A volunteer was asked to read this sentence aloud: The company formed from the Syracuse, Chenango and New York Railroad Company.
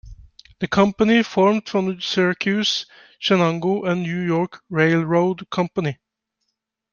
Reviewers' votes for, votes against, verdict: 1, 2, rejected